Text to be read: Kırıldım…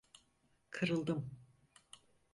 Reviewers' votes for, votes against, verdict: 4, 0, accepted